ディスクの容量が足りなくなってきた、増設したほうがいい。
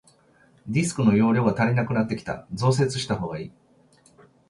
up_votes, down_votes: 2, 0